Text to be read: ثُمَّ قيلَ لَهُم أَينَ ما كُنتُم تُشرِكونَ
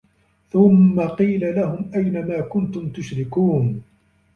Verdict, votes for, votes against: rejected, 1, 2